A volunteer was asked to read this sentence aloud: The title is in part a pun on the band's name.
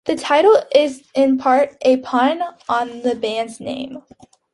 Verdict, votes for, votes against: accepted, 3, 0